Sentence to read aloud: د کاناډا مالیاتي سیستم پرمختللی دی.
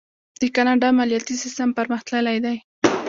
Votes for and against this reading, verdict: 1, 2, rejected